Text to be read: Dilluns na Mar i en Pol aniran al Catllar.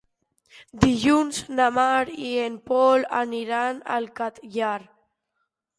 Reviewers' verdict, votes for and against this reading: accepted, 2, 0